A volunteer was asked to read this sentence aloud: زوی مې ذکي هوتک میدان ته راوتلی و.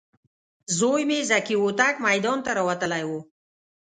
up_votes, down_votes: 2, 0